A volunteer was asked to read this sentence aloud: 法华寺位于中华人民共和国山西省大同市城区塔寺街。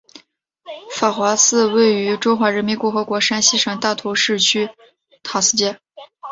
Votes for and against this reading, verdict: 2, 0, accepted